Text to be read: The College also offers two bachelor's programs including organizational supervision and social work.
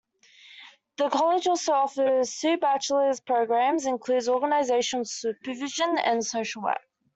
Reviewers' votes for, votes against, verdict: 1, 2, rejected